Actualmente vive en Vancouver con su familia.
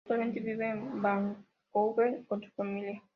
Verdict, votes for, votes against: rejected, 0, 2